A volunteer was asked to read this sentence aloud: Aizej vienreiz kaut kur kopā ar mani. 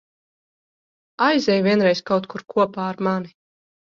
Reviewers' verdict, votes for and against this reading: accepted, 2, 0